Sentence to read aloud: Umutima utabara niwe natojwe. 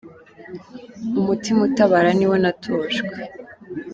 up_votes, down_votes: 2, 1